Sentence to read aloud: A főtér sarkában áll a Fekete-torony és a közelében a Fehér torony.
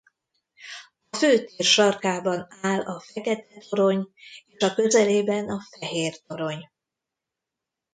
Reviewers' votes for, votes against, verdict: 1, 2, rejected